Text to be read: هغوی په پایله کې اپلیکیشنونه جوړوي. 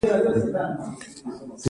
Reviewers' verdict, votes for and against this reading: rejected, 1, 2